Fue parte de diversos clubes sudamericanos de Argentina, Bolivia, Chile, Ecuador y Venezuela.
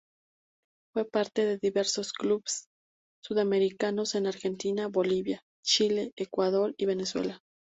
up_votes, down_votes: 0, 2